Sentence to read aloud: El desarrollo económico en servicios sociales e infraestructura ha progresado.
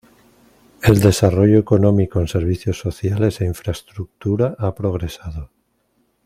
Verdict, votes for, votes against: accepted, 2, 0